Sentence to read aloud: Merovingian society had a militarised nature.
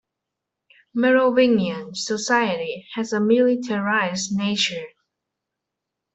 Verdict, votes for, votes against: rejected, 0, 2